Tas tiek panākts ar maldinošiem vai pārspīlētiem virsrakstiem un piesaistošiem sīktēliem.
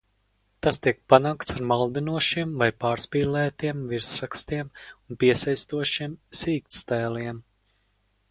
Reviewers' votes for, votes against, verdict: 0, 4, rejected